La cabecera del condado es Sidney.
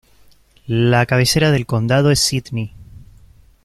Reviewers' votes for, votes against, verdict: 2, 0, accepted